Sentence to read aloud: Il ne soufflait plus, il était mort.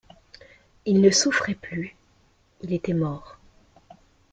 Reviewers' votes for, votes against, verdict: 0, 2, rejected